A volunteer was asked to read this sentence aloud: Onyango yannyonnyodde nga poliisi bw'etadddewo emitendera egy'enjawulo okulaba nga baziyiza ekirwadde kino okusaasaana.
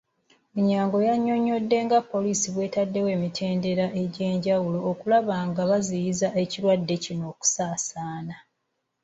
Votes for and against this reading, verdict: 1, 2, rejected